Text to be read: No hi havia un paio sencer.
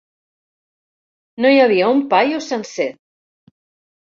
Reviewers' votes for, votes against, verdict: 3, 0, accepted